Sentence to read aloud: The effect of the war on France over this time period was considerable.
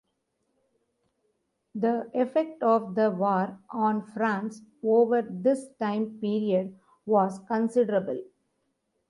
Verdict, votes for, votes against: accepted, 2, 0